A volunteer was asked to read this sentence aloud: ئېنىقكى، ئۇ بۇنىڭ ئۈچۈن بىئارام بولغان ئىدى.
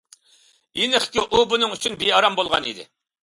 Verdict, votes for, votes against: accepted, 2, 0